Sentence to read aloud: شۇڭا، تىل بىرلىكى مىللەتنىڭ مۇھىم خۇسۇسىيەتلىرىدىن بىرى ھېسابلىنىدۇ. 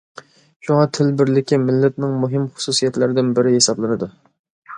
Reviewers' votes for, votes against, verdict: 2, 0, accepted